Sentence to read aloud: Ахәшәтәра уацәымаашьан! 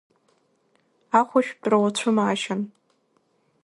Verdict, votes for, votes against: rejected, 1, 2